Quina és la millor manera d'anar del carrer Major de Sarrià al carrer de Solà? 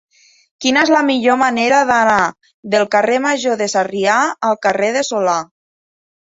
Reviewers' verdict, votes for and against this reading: accepted, 2, 0